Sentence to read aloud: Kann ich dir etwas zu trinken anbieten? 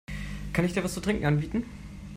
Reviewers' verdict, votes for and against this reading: rejected, 1, 2